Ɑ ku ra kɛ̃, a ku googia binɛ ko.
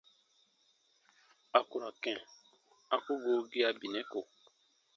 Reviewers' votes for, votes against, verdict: 0, 2, rejected